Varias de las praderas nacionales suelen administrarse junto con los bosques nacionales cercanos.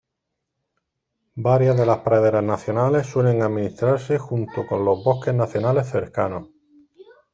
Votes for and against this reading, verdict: 2, 0, accepted